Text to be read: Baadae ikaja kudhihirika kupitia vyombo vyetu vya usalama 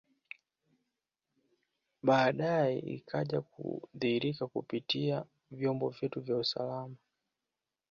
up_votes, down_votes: 2, 0